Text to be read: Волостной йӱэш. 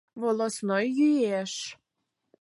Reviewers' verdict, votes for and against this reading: accepted, 4, 0